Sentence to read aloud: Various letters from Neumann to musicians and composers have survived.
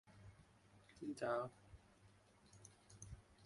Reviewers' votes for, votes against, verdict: 0, 2, rejected